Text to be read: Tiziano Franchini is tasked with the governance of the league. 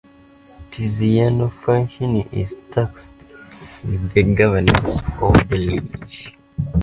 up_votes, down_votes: 0, 2